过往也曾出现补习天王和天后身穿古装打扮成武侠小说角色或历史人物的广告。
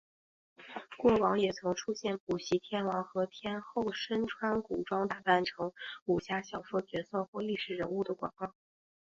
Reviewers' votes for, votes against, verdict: 2, 0, accepted